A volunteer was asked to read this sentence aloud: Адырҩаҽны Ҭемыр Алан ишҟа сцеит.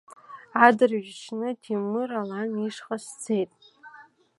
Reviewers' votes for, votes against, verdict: 2, 1, accepted